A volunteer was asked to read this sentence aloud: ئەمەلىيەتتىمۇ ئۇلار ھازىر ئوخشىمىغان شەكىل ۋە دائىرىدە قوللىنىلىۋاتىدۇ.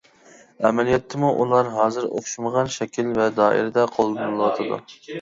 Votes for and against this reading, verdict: 0, 2, rejected